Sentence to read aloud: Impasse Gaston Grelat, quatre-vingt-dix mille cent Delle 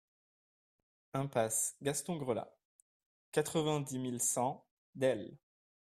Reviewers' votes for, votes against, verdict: 2, 0, accepted